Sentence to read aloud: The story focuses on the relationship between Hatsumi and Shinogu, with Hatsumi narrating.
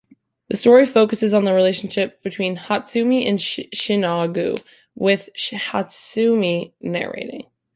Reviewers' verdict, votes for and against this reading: rejected, 1, 2